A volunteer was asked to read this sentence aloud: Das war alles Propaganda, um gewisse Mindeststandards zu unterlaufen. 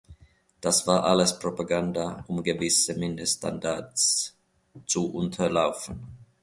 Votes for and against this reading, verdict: 2, 0, accepted